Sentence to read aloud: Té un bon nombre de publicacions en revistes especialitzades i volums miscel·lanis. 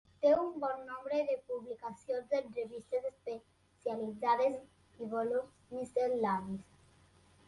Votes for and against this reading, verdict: 2, 0, accepted